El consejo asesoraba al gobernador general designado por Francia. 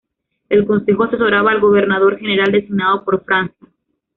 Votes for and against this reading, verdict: 0, 2, rejected